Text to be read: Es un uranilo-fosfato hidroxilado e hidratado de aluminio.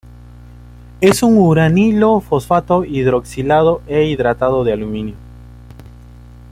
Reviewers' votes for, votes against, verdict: 2, 1, accepted